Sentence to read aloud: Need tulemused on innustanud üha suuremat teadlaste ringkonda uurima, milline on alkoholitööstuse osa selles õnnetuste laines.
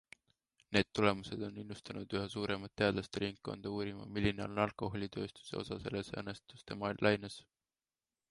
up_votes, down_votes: 2, 1